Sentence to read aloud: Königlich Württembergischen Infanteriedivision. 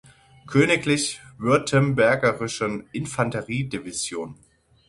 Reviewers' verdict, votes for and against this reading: rejected, 0, 6